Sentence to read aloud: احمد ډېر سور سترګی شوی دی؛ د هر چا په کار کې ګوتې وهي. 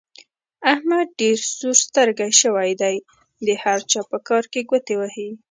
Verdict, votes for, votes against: accepted, 2, 0